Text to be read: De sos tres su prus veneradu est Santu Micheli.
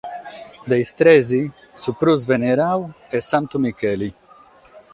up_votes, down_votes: 3, 6